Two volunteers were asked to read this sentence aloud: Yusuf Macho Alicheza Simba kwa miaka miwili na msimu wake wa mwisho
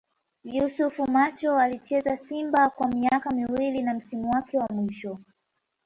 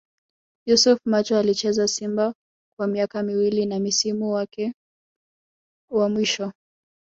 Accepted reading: first